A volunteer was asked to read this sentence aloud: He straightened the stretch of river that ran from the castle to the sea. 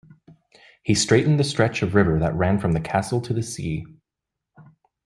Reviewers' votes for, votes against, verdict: 2, 1, accepted